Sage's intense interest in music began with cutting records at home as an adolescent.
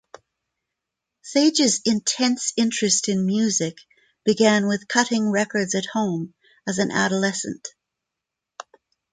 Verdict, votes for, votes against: accepted, 4, 0